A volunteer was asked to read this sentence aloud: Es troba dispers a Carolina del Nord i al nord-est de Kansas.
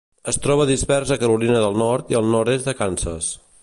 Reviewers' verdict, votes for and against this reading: accepted, 2, 0